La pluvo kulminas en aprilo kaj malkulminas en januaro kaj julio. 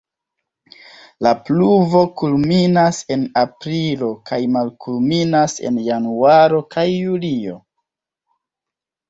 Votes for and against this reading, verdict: 1, 2, rejected